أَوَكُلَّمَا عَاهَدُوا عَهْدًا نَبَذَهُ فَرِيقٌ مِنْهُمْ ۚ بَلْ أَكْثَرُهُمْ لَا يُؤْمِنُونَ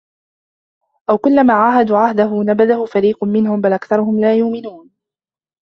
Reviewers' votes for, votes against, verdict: 1, 2, rejected